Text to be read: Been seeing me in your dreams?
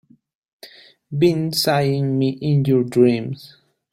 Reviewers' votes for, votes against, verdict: 0, 2, rejected